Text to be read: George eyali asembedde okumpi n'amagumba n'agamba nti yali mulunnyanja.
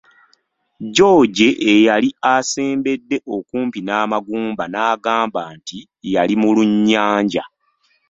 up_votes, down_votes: 1, 2